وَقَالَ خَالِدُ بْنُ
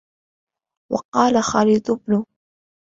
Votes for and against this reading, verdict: 2, 0, accepted